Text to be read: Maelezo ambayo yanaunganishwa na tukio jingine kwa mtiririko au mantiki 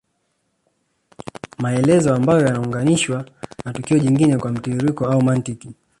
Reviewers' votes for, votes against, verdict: 0, 2, rejected